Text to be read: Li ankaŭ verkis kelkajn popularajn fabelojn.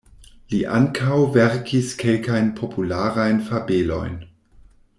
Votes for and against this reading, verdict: 2, 0, accepted